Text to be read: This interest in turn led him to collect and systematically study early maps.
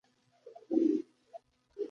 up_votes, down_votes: 0, 2